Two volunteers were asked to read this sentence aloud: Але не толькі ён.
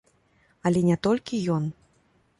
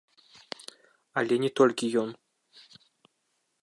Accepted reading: first